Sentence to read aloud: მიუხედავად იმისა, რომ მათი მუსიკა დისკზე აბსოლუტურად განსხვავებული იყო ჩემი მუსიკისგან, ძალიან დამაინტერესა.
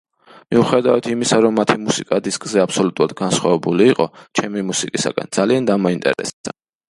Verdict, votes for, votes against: rejected, 0, 2